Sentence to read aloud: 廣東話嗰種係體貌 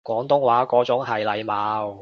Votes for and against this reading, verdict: 1, 2, rejected